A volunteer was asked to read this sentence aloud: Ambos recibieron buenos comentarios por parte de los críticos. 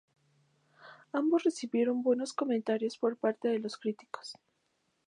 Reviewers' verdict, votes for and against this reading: accepted, 2, 0